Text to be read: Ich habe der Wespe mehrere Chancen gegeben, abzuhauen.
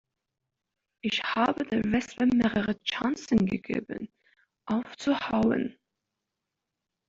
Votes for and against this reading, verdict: 0, 2, rejected